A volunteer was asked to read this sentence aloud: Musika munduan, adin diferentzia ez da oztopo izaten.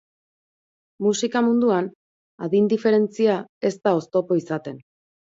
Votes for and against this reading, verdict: 2, 0, accepted